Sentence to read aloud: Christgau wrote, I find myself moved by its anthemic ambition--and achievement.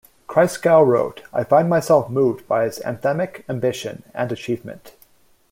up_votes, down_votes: 1, 2